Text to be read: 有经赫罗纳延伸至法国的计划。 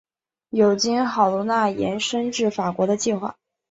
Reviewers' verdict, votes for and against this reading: accepted, 2, 1